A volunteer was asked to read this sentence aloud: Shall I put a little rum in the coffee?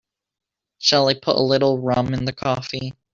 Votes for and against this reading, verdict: 0, 2, rejected